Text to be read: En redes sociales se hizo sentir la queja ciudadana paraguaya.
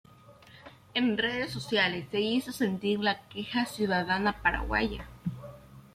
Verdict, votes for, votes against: accepted, 2, 0